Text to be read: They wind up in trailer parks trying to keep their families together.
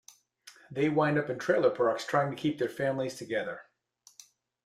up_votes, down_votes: 2, 0